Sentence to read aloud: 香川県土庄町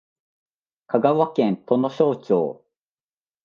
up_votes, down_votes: 3, 0